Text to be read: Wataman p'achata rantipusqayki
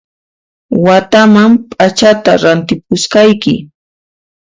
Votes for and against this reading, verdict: 2, 0, accepted